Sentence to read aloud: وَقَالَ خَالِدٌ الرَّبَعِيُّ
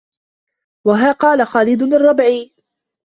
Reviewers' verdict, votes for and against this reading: rejected, 0, 2